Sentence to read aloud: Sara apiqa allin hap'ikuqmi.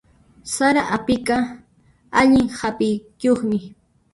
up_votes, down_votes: 0, 2